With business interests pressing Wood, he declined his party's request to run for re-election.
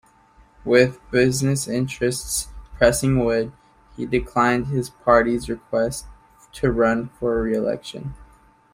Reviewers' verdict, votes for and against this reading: accepted, 2, 0